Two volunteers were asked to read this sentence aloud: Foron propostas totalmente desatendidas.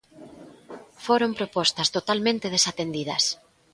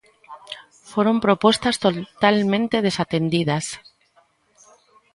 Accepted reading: first